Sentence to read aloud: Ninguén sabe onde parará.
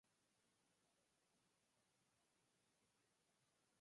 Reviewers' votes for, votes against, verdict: 2, 4, rejected